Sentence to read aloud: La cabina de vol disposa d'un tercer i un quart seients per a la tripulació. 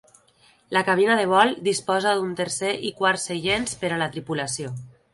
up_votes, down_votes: 2, 1